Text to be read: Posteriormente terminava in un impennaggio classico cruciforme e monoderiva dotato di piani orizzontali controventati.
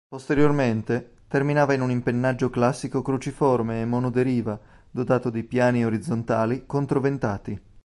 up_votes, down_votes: 1, 2